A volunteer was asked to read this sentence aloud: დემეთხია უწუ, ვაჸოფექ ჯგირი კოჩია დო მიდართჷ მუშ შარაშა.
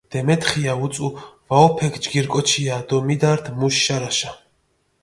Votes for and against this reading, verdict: 2, 0, accepted